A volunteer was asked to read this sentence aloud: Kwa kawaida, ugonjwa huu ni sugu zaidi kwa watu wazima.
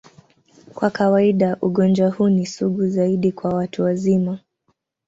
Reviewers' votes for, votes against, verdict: 2, 0, accepted